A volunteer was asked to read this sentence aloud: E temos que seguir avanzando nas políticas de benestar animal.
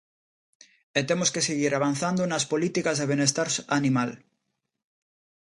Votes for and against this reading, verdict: 1, 2, rejected